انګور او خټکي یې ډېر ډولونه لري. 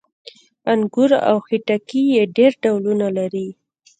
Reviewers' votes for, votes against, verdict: 1, 2, rejected